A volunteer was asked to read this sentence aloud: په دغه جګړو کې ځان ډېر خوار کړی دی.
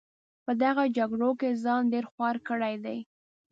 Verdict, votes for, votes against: accepted, 3, 0